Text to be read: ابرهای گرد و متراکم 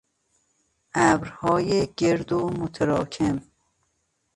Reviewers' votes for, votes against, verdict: 2, 1, accepted